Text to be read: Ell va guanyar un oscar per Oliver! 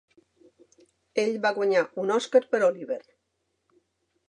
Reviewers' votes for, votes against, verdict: 3, 0, accepted